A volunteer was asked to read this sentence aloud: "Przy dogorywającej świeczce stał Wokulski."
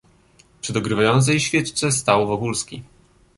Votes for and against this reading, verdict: 1, 2, rejected